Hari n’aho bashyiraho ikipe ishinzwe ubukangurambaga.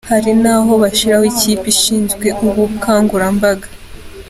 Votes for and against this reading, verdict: 2, 0, accepted